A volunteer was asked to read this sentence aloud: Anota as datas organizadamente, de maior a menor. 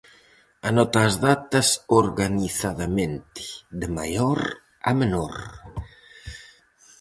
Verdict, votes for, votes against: accepted, 4, 0